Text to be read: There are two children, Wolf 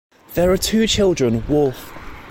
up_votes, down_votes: 2, 0